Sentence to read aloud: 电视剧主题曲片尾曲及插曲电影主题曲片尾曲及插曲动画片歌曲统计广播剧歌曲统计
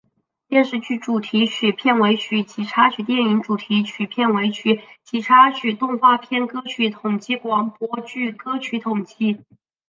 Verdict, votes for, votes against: accepted, 3, 0